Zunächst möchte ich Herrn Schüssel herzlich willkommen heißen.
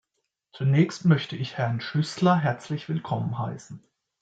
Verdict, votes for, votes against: rejected, 0, 2